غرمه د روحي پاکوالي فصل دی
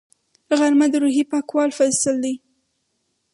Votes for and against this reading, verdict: 0, 2, rejected